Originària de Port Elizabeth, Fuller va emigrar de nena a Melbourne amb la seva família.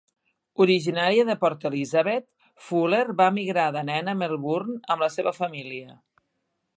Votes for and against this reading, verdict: 2, 0, accepted